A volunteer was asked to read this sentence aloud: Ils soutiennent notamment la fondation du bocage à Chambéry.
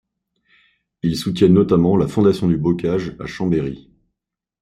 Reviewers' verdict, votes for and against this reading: accepted, 2, 0